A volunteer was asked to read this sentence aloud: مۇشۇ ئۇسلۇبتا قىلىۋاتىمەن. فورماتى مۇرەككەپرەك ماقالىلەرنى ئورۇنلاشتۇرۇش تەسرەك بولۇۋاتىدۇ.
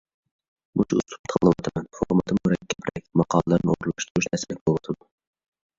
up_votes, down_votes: 1, 2